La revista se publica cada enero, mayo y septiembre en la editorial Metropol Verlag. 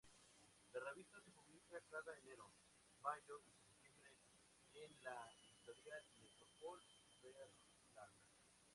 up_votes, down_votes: 0, 4